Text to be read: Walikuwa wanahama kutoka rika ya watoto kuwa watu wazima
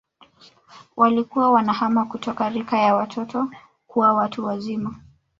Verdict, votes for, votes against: rejected, 1, 2